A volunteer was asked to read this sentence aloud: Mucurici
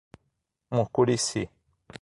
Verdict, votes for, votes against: accepted, 6, 0